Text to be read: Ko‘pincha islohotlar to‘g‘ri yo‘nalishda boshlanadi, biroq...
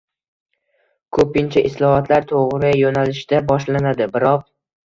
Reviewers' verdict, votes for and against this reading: accepted, 2, 0